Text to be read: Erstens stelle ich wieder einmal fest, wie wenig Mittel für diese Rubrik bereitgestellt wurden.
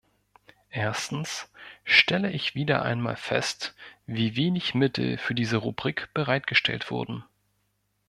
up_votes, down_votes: 2, 0